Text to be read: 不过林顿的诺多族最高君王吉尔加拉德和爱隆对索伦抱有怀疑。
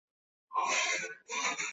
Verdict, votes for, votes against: rejected, 0, 4